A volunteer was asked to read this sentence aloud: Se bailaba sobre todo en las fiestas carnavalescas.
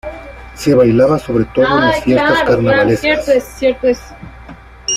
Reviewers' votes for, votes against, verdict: 0, 2, rejected